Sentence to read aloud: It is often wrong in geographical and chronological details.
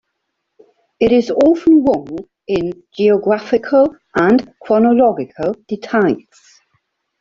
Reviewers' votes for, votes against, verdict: 0, 2, rejected